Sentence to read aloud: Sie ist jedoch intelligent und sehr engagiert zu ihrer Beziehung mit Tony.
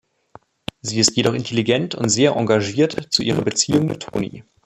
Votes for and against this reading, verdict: 2, 0, accepted